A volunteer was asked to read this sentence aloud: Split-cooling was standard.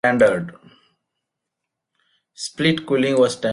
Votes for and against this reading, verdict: 0, 2, rejected